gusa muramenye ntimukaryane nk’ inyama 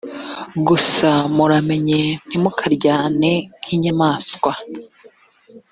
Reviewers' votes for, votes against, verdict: 0, 2, rejected